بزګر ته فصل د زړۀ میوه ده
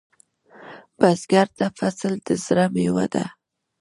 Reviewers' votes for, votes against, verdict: 0, 2, rejected